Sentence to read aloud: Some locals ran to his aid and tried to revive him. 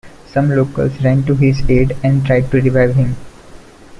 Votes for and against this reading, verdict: 2, 0, accepted